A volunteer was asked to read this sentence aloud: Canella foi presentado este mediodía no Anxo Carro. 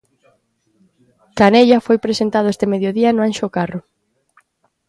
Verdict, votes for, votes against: accepted, 2, 1